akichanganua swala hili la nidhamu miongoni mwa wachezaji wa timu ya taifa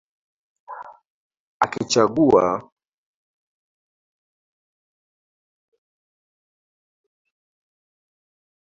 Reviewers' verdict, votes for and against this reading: rejected, 0, 2